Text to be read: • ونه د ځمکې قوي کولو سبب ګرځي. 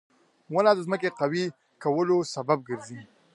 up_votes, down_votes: 2, 0